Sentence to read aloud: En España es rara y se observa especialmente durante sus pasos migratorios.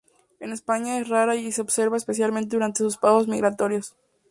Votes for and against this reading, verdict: 0, 2, rejected